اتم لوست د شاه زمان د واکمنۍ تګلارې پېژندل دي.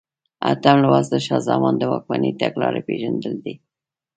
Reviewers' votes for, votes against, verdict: 2, 0, accepted